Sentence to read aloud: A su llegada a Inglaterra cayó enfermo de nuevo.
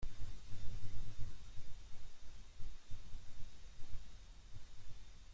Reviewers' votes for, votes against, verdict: 0, 2, rejected